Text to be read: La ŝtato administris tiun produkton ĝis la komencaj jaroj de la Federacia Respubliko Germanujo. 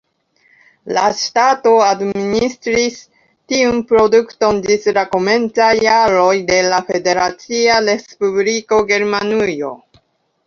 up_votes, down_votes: 2, 1